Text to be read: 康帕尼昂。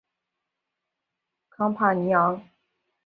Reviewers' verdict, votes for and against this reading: accepted, 3, 0